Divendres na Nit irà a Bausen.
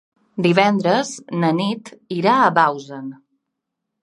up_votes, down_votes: 2, 0